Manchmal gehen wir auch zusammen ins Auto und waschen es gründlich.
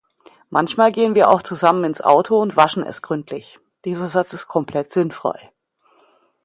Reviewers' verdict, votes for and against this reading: rejected, 0, 2